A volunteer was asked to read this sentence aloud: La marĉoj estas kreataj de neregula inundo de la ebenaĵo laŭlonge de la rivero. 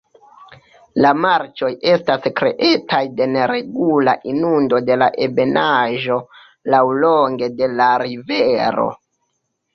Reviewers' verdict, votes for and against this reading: accepted, 2, 1